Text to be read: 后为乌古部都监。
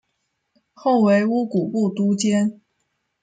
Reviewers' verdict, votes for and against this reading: accepted, 2, 0